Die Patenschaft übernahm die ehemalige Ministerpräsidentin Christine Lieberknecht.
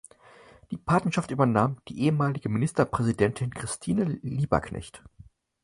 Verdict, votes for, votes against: accepted, 4, 0